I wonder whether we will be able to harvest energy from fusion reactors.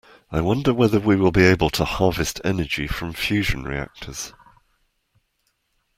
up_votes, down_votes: 2, 0